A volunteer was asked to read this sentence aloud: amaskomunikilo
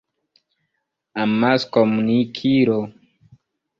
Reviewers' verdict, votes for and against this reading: accepted, 3, 2